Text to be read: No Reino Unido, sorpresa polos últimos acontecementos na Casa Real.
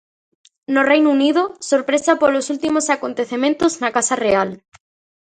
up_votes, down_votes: 2, 0